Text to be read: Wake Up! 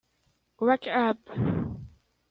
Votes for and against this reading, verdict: 0, 2, rejected